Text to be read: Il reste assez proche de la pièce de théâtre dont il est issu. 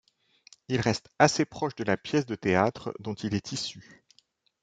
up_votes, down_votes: 2, 0